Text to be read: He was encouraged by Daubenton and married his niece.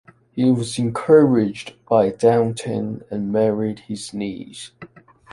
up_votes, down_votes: 2, 1